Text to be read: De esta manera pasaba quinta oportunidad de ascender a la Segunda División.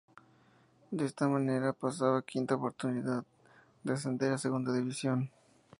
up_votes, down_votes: 0, 2